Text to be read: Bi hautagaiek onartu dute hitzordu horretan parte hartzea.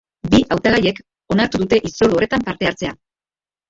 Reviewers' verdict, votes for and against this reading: accepted, 2, 0